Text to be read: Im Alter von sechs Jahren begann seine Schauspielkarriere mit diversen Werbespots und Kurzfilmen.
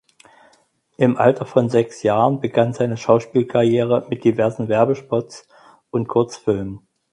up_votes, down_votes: 4, 0